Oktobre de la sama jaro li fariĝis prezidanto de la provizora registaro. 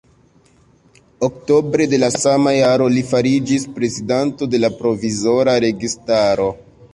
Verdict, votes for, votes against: accepted, 2, 0